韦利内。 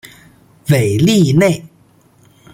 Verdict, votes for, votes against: accepted, 2, 0